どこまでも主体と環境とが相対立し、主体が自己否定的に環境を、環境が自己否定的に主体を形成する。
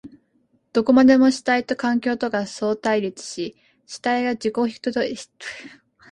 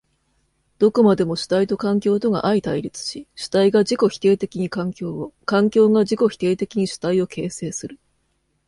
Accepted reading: second